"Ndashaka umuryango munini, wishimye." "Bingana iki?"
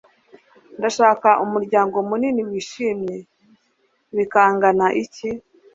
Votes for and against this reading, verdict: 2, 3, rejected